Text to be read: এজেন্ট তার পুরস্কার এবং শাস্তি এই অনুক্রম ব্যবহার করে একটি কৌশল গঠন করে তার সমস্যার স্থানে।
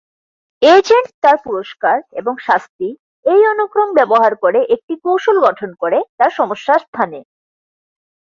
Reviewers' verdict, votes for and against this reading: accepted, 4, 0